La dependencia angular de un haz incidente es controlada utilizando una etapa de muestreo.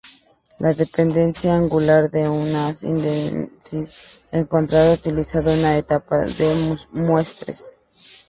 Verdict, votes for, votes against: rejected, 0, 4